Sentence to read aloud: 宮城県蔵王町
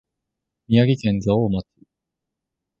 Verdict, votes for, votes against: rejected, 0, 2